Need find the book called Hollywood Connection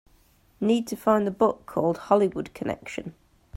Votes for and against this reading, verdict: 1, 2, rejected